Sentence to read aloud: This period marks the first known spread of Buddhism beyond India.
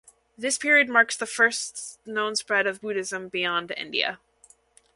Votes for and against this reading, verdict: 2, 0, accepted